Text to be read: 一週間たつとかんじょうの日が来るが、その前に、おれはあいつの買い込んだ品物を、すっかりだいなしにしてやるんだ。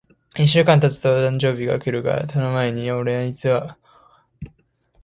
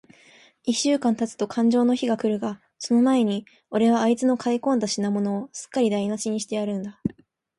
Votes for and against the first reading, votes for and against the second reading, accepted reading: 0, 2, 2, 0, second